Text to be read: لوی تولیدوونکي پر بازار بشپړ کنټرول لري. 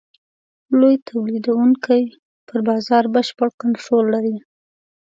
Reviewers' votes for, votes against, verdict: 2, 0, accepted